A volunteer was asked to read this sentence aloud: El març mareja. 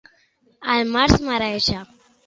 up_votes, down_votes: 2, 0